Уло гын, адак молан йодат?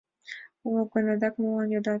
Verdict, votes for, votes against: accepted, 2, 1